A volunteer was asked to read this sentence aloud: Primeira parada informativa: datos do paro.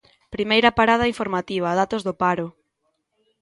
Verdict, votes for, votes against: accepted, 2, 0